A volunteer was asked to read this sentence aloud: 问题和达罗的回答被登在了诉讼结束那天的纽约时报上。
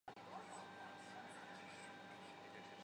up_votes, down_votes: 0, 3